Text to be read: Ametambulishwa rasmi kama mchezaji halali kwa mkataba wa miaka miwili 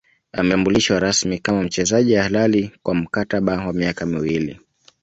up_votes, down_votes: 1, 2